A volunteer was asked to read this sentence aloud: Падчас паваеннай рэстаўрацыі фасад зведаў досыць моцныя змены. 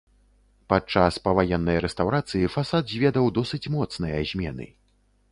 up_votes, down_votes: 2, 0